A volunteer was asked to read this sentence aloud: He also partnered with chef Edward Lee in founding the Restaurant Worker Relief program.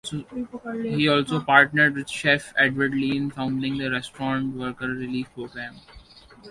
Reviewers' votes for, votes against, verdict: 1, 2, rejected